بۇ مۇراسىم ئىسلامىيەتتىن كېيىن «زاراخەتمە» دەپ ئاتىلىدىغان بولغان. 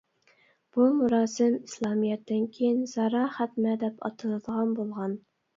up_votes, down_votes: 2, 0